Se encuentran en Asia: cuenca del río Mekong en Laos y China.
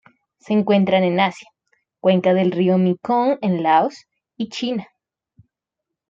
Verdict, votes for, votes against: rejected, 0, 2